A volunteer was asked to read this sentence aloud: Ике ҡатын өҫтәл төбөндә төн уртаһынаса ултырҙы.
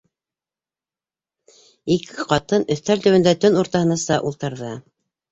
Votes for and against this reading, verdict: 4, 0, accepted